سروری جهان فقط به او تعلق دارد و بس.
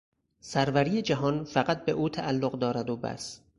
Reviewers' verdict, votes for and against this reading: accepted, 4, 0